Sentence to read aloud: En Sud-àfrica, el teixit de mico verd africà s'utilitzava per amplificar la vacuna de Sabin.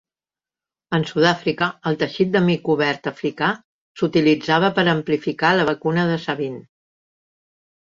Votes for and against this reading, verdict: 1, 2, rejected